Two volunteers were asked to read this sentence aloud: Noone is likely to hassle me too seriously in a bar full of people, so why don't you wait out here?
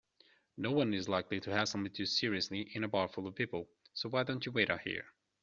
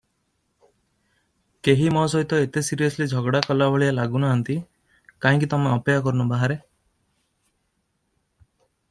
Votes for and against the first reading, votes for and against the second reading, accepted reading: 2, 0, 0, 2, first